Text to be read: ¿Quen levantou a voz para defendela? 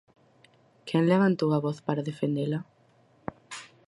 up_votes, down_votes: 4, 0